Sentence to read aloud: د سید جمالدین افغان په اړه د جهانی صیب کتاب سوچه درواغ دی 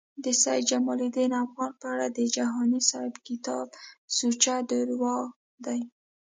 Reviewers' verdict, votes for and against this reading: accepted, 2, 0